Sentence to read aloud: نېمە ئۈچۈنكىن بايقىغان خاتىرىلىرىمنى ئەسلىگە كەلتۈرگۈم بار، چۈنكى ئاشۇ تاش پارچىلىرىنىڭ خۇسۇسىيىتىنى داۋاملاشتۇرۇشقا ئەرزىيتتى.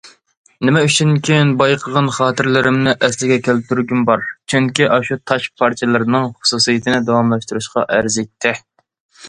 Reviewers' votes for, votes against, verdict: 2, 0, accepted